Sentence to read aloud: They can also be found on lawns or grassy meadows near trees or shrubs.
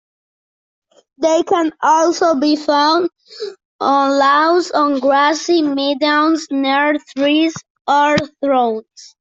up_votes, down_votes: 0, 2